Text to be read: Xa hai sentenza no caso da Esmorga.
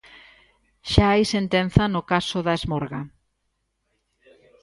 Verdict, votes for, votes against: accepted, 2, 0